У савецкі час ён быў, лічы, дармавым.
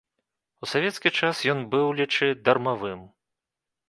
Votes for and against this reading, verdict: 2, 0, accepted